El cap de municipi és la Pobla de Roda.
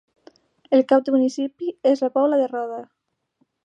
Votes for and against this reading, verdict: 2, 0, accepted